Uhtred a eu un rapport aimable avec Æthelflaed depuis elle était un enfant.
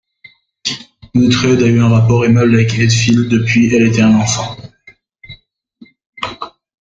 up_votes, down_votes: 1, 2